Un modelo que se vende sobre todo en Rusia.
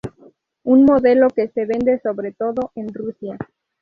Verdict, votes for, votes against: accepted, 2, 0